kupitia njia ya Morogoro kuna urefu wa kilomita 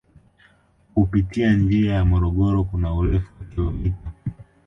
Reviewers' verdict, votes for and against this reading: accepted, 2, 0